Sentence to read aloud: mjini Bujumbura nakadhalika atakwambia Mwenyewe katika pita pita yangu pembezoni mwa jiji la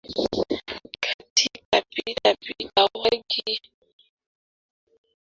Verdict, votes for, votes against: rejected, 0, 2